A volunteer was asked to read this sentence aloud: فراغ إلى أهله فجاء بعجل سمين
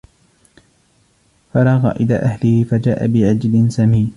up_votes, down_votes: 2, 1